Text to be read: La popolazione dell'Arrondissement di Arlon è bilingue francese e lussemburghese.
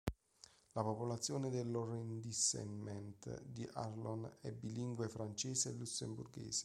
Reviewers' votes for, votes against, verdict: 0, 2, rejected